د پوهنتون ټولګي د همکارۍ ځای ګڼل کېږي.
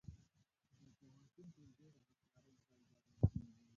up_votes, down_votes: 1, 5